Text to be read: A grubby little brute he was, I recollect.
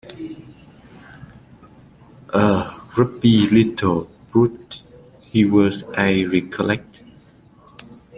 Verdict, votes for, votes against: rejected, 0, 2